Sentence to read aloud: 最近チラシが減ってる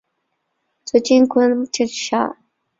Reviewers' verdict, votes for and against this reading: rejected, 0, 2